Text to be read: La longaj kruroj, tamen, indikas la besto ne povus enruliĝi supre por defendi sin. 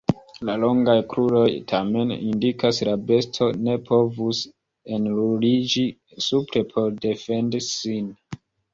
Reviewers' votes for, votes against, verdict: 1, 2, rejected